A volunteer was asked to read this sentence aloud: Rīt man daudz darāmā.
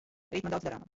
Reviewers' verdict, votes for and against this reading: rejected, 0, 2